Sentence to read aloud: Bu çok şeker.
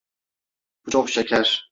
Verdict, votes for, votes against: accepted, 2, 1